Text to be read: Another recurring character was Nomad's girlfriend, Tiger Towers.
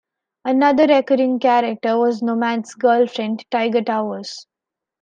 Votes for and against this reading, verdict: 2, 0, accepted